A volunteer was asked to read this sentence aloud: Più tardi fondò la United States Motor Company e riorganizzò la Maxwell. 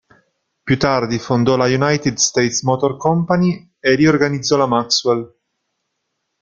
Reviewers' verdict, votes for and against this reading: accepted, 2, 0